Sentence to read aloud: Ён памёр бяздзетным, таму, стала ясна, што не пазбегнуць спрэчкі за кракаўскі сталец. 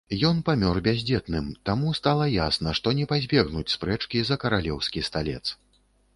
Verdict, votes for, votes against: rejected, 0, 2